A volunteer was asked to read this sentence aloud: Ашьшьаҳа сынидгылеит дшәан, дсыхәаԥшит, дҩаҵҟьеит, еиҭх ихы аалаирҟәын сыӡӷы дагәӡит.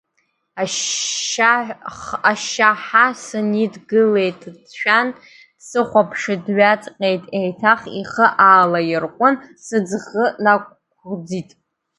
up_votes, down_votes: 0, 2